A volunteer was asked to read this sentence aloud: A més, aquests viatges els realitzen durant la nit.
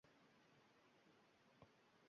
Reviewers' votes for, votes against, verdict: 0, 2, rejected